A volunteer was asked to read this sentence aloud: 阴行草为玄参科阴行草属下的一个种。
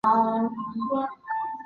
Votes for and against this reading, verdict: 1, 2, rejected